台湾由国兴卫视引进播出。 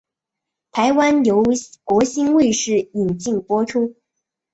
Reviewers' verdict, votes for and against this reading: accepted, 2, 0